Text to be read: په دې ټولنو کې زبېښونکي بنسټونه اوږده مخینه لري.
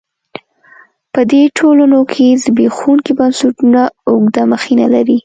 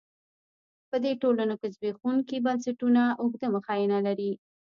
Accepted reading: first